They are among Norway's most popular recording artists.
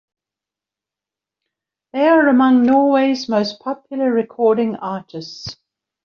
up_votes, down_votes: 2, 0